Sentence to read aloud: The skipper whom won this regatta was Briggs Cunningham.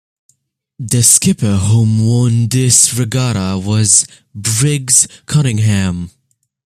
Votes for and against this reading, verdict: 2, 0, accepted